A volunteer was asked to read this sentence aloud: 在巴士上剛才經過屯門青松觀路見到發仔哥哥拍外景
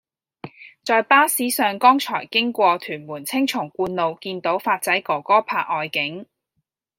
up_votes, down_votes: 2, 0